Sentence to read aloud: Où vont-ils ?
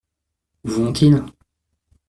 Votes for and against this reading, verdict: 1, 2, rejected